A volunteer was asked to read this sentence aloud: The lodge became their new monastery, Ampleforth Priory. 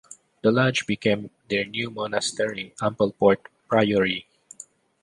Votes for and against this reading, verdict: 2, 0, accepted